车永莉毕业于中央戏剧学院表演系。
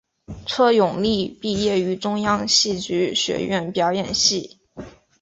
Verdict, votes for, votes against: accepted, 2, 0